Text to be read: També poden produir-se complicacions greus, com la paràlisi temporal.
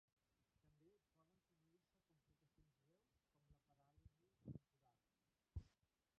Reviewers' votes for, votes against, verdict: 0, 2, rejected